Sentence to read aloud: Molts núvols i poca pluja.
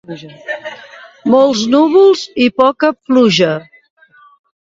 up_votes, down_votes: 2, 0